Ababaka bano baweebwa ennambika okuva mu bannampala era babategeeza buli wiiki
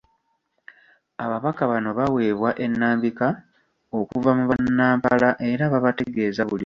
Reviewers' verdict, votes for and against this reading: rejected, 1, 2